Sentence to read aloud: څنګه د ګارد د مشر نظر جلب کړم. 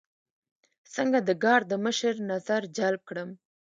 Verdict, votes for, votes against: accepted, 2, 0